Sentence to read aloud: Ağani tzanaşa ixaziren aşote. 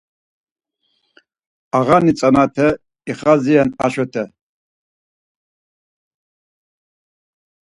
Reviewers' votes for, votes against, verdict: 0, 4, rejected